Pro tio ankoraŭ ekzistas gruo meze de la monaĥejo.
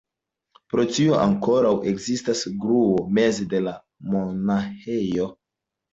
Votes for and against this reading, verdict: 1, 2, rejected